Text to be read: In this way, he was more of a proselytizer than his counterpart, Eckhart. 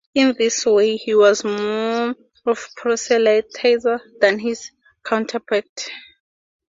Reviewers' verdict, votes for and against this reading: rejected, 0, 2